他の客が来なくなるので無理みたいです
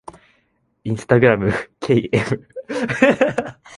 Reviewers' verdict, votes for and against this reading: rejected, 0, 2